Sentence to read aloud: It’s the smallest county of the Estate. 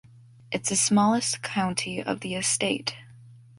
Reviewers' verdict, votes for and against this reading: accepted, 2, 0